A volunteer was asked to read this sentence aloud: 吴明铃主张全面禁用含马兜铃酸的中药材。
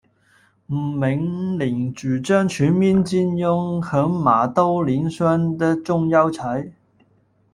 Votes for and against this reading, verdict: 0, 2, rejected